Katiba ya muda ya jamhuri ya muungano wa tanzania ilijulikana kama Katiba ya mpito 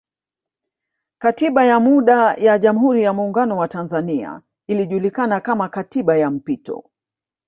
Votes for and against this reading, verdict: 0, 2, rejected